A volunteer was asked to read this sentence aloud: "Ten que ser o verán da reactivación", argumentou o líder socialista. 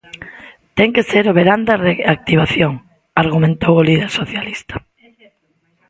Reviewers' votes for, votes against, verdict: 1, 2, rejected